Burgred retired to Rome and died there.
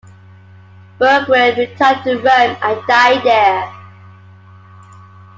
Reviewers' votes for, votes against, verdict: 2, 1, accepted